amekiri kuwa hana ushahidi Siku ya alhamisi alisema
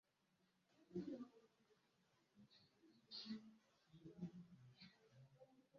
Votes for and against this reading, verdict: 0, 2, rejected